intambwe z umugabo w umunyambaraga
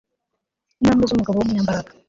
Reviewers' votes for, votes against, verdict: 1, 2, rejected